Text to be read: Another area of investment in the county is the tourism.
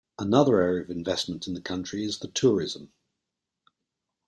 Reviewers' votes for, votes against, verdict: 1, 2, rejected